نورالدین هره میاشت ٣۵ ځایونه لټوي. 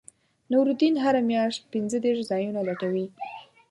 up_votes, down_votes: 0, 2